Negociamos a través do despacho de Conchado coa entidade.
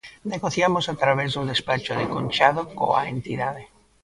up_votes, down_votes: 2, 0